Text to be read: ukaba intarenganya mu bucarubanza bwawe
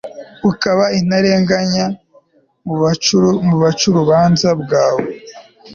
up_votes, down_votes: 1, 2